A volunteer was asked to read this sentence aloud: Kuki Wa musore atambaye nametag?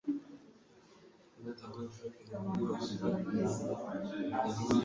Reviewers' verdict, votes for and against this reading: rejected, 1, 2